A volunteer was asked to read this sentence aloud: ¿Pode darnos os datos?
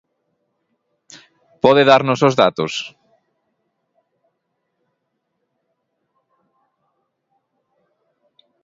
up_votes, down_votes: 2, 1